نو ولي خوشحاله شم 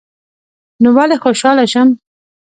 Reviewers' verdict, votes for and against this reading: accepted, 2, 0